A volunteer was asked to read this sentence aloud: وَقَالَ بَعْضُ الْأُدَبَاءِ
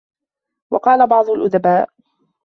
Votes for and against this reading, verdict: 2, 0, accepted